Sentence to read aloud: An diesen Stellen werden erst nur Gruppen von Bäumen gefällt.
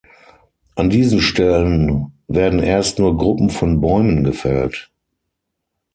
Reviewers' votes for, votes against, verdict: 6, 0, accepted